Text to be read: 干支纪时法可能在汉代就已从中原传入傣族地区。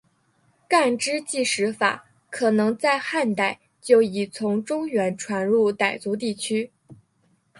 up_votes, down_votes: 2, 1